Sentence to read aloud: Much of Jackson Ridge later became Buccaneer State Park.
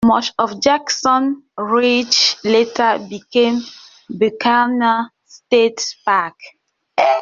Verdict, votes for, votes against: rejected, 0, 2